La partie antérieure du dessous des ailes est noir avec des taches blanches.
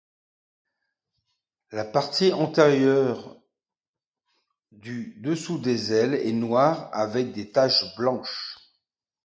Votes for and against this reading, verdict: 2, 0, accepted